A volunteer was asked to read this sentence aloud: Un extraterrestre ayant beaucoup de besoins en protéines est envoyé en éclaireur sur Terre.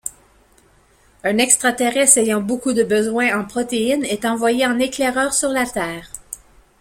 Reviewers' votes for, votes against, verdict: 1, 2, rejected